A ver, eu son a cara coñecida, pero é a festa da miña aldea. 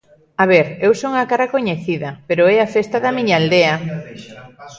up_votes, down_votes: 1, 2